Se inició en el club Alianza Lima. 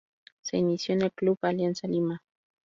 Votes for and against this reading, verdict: 0, 2, rejected